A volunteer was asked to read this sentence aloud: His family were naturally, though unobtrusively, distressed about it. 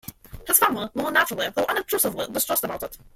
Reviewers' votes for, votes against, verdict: 0, 2, rejected